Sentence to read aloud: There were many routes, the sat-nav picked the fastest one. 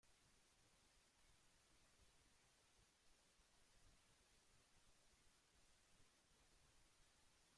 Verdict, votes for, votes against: rejected, 0, 2